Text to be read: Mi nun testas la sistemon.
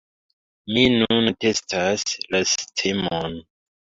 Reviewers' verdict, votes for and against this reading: accepted, 2, 0